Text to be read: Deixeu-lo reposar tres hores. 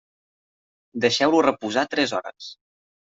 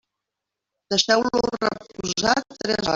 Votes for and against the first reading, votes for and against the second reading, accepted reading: 3, 0, 0, 2, first